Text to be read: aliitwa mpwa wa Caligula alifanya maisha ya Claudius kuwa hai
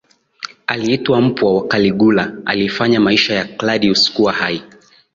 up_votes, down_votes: 6, 1